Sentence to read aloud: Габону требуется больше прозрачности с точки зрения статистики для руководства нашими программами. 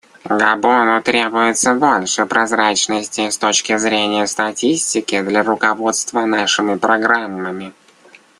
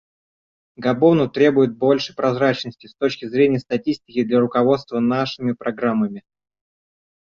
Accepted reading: first